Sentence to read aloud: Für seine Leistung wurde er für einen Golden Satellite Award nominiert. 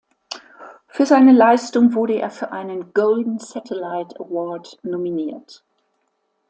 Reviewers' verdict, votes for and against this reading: accepted, 2, 0